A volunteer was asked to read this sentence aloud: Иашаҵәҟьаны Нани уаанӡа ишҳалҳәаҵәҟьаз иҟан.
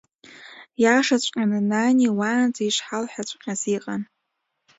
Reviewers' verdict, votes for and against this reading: accepted, 2, 1